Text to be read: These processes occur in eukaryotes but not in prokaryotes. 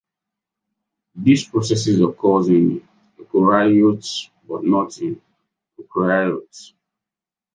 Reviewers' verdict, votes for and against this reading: rejected, 0, 2